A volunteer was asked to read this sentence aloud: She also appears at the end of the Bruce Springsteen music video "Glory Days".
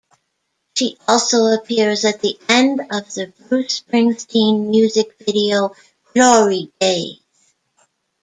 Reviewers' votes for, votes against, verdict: 2, 0, accepted